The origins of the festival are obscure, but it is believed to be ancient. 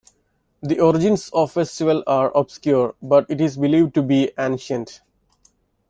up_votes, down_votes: 0, 2